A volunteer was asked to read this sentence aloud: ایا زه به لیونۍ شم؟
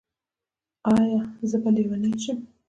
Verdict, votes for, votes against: accepted, 2, 0